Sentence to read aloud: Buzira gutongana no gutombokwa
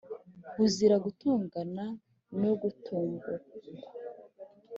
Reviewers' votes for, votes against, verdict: 3, 0, accepted